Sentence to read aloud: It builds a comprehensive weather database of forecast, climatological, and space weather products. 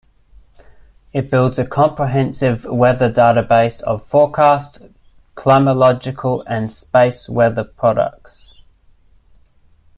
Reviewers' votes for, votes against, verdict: 1, 2, rejected